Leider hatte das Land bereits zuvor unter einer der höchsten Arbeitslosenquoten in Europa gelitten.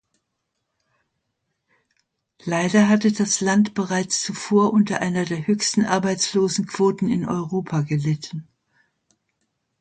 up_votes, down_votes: 2, 1